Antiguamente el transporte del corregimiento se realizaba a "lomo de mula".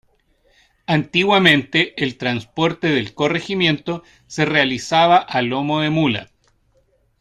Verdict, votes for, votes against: accepted, 2, 0